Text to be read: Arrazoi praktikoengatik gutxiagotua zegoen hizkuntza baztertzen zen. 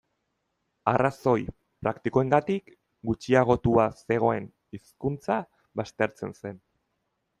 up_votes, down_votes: 0, 2